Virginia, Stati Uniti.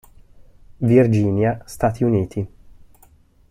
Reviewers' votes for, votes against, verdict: 2, 0, accepted